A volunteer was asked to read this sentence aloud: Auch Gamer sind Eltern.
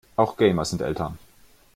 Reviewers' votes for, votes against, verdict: 2, 0, accepted